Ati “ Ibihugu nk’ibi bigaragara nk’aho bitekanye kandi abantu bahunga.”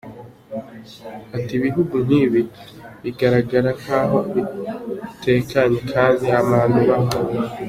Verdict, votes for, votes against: accepted, 2, 0